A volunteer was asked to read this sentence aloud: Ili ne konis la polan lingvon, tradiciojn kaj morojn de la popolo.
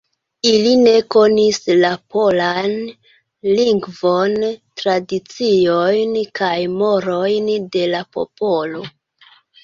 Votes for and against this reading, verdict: 2, 0, accepted